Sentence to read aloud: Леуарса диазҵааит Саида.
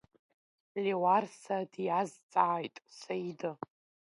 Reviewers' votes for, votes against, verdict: 2, 1, accepted